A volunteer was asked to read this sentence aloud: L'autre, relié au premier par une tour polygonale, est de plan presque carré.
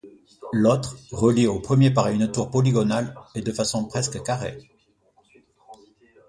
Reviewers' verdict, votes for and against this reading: rejected, 0, 2